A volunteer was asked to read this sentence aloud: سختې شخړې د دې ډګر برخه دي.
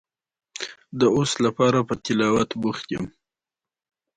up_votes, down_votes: 1, 2